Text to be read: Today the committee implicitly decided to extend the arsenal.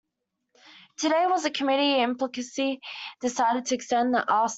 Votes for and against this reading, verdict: 0, 2, rejected